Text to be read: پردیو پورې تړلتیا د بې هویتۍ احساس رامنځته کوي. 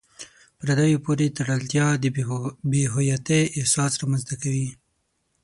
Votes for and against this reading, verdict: 3, 6, rejected